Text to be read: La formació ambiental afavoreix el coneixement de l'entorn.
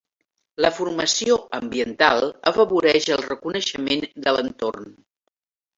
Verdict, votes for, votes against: rejected, 0, 2